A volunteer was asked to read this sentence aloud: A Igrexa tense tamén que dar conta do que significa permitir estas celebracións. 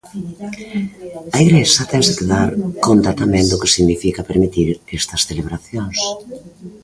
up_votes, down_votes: 0, 2